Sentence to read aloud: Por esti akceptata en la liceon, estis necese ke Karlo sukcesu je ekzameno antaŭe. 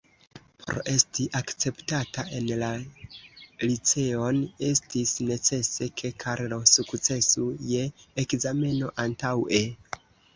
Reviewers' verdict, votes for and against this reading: rejected, 1, 2